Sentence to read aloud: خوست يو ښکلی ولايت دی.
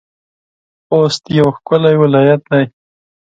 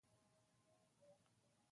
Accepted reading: first